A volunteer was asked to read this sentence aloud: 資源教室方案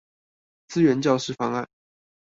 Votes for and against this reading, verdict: 2, 0, accepted